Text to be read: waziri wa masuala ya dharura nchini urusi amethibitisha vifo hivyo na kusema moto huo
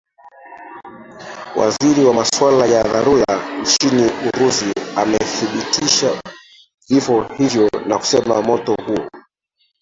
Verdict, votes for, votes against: rejected, 0, 2